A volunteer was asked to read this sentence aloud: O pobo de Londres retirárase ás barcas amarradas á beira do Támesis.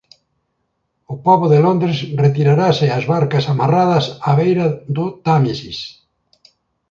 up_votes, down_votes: 1, 2